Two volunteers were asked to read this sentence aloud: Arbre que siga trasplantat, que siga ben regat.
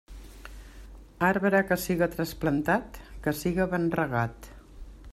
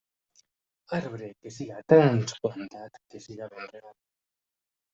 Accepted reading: first